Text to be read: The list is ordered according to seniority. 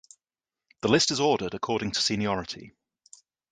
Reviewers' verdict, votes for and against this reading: accepted, 2, 0